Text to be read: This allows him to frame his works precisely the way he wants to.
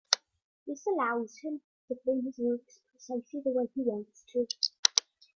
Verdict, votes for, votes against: rejected, 0, 2